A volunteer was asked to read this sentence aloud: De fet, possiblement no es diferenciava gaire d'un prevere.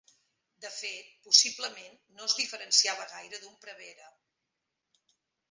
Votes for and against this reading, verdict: 3, 1, accepted